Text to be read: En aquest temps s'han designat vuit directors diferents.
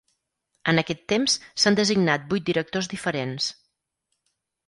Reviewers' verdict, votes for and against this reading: accepted, 4, 0